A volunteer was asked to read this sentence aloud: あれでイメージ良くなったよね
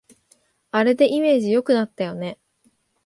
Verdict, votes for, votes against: accepted, 2, 0